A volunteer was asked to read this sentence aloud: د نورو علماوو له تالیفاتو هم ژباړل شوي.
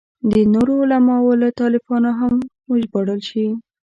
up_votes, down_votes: 1, 2